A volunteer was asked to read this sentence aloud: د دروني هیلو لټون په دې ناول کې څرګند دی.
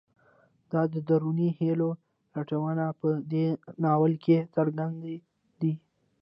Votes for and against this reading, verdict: 1, 3, rejected